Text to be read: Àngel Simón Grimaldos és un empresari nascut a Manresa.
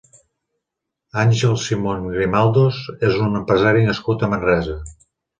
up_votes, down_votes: 6, 0